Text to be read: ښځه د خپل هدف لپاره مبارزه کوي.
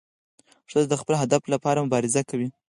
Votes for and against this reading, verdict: 2, 4, rejected